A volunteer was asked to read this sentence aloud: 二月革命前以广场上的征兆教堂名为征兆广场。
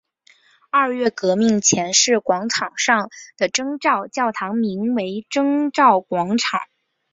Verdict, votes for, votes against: accepted, 2, 1